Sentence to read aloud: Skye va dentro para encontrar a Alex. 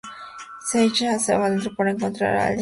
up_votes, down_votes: 0, 2